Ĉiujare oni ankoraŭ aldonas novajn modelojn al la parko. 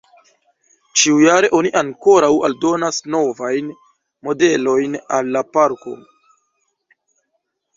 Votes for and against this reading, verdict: 1, 2, rejected